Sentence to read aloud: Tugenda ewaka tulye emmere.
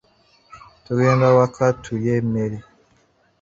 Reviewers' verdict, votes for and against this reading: rejected, 1, 2